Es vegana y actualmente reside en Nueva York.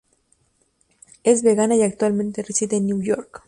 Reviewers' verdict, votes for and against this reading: rejected, 0, 2